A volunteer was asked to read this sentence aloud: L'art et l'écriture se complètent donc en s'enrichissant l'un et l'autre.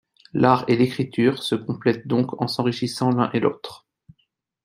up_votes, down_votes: 2, 0